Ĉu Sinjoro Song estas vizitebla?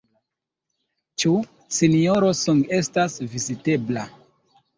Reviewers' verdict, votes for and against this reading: accepted, 2, 1